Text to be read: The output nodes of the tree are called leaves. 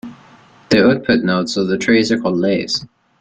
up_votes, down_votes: 0, 2